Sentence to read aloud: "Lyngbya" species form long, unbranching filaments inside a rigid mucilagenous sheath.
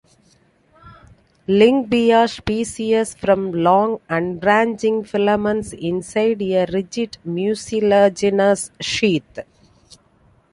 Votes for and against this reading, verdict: 0, 2, rejected